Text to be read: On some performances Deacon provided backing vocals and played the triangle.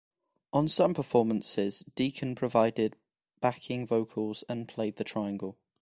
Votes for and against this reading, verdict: 2, 0, accepted